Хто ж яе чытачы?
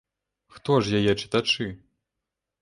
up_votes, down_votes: 2, 0